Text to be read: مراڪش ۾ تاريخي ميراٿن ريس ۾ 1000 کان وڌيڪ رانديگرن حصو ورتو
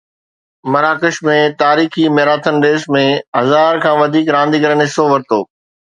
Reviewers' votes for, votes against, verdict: 0, 2, rejected